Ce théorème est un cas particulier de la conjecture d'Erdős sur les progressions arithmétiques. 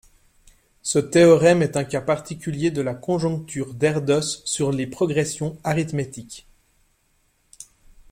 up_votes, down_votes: 1, 2